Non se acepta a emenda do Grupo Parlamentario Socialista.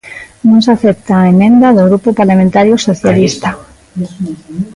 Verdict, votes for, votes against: accepted, 2, 1